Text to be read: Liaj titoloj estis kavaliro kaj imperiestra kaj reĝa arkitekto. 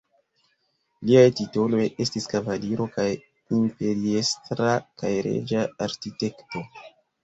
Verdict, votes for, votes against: accepted, 2, 0